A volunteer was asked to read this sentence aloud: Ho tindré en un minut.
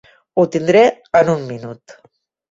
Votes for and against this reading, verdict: 3, 0, accepted